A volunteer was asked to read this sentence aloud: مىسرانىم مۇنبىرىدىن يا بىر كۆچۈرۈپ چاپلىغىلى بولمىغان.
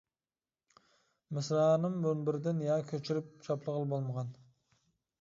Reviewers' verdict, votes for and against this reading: rejected, 0, 2